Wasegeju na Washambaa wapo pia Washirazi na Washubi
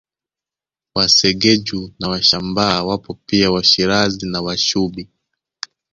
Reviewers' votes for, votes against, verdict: 2, 0, accepted